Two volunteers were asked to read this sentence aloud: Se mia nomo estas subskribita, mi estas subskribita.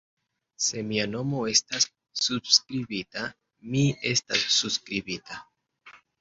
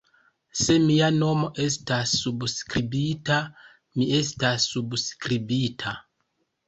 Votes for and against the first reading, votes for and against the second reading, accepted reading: 0, 2, 2, 1, second